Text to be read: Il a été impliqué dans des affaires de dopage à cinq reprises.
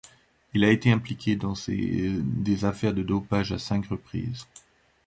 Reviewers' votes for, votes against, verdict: 1, 2, rejected